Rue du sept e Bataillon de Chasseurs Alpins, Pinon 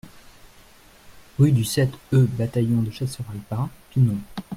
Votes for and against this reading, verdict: 3, 0, accepted